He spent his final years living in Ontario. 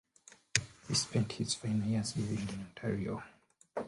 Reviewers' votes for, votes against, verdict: 2, 1, accepted